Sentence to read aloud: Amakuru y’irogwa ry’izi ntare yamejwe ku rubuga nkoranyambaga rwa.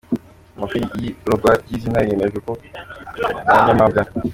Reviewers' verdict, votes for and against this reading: rejected, 0, 2